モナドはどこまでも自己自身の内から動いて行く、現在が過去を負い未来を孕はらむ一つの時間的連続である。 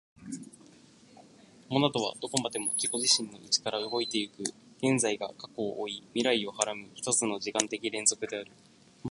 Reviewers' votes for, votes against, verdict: 3, 0, accepted